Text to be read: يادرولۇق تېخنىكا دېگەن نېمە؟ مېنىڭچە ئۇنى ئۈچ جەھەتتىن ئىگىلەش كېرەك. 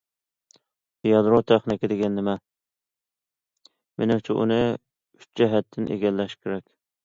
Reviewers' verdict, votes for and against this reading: rejected, 0, 2